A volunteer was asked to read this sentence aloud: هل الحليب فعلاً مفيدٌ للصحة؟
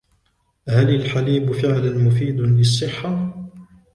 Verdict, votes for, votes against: rejected, 0, 2